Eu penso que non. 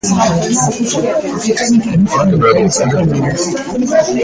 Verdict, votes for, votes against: rejected, 1, 2